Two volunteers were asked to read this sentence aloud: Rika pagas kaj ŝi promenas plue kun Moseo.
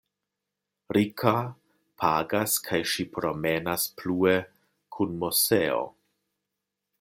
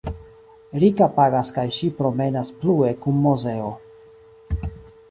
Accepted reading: first